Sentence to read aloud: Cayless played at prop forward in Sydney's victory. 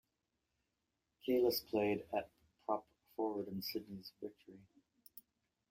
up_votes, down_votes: 1, 2